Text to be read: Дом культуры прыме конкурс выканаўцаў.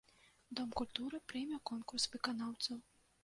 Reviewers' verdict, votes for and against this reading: accepted, 2, 1